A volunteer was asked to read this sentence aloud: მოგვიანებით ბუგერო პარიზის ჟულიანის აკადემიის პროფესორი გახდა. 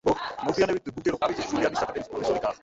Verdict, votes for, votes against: rejected, 0, 2